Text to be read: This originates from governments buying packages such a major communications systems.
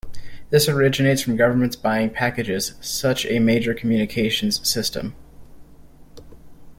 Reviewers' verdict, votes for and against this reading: rejected, 1, 2